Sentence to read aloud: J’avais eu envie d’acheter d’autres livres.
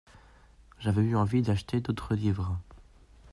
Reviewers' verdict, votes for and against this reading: accepted, 2, 1